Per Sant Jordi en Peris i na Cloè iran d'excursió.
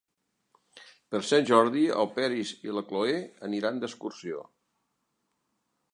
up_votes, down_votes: 3, 4